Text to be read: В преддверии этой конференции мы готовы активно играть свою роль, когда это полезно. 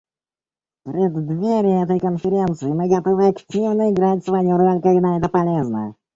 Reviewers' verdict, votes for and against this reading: rejected, 1, 2